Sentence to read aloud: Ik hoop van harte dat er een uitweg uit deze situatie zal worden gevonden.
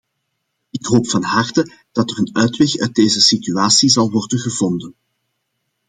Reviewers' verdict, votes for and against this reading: accepted, 2, 0